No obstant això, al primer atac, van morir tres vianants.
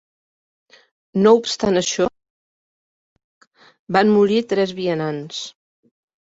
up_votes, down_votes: 0, 2